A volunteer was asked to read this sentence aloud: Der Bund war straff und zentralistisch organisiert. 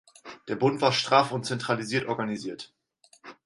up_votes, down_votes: 0, 4